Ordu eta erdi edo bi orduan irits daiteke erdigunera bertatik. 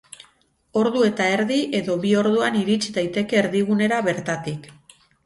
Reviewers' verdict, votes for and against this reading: accepted, 4, 0